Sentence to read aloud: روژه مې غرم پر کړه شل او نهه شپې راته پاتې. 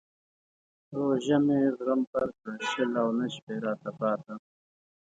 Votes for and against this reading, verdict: 3, 4, rejected